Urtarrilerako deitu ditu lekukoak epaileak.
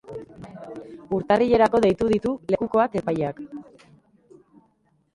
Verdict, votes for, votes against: rejected, 0, 2